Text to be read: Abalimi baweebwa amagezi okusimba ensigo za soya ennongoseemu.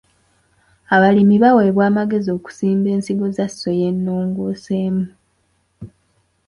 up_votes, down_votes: 2, 0